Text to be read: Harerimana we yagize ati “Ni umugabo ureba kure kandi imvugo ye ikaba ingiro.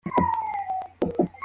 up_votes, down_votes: 0, 2